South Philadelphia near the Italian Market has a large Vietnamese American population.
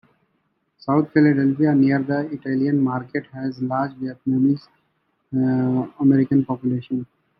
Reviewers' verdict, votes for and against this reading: rejected, 0, 2